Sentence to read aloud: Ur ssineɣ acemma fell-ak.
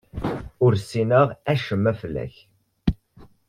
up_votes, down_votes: 2, 0